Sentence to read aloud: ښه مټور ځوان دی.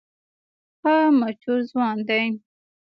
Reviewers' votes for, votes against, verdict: 0, 2, rejected